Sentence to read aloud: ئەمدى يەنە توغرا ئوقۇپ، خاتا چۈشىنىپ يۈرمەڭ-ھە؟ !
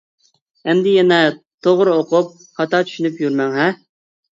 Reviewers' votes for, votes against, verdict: 2, 0, accepted